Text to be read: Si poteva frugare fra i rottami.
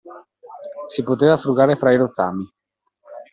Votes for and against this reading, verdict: 2, 1, accepted